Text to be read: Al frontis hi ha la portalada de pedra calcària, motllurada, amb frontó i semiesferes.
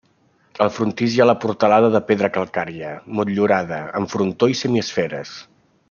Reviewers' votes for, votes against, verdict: 0, 2, rejected